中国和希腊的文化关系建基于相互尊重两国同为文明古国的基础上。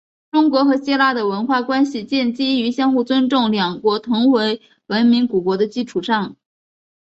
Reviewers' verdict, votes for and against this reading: accepted, 4, 1